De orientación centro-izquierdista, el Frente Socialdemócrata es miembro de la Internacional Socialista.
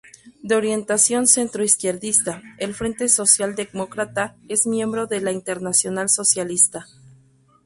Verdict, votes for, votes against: rejected, 0, 2